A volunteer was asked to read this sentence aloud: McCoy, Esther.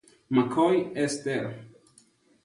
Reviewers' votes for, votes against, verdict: 2, 0, accepted